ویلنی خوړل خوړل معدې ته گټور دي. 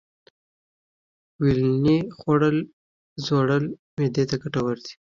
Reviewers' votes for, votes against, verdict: 2, 0, accepted